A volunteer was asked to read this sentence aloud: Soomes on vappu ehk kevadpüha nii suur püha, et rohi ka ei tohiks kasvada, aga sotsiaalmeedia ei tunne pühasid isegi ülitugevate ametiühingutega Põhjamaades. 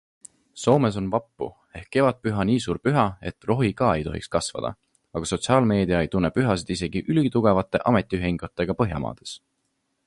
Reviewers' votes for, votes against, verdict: 3, 0, accepted